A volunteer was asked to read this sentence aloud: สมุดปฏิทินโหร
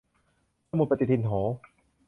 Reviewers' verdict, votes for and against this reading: rejected, 0, 2